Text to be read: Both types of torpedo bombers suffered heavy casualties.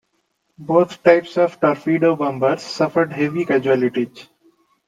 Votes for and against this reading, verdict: 2, 1, accepted